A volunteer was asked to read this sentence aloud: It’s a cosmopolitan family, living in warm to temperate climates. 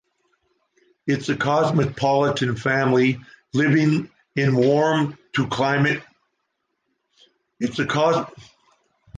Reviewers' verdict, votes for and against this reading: rejected, 0, 2